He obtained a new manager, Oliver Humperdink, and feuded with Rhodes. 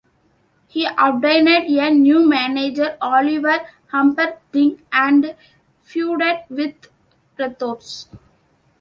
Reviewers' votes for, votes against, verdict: 1, 2, rejected